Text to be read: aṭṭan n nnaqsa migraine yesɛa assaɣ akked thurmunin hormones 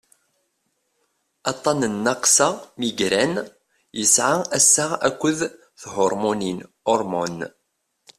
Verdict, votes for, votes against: accepted, 2, 0